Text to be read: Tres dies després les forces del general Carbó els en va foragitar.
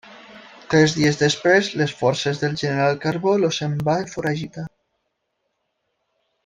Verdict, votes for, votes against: rejected, 0, 2